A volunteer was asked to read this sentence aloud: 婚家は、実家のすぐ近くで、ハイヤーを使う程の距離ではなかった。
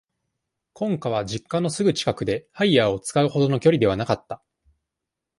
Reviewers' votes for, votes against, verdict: 2, 0, accepted